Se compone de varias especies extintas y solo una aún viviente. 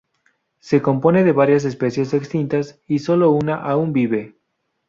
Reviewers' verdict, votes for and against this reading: rejected, 0, 2